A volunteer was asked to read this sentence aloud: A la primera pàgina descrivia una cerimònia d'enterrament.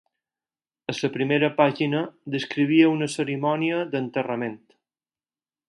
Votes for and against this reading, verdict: 2, 4, rejected